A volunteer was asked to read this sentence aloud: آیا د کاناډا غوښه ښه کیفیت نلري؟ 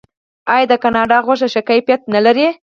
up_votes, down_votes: 2, 4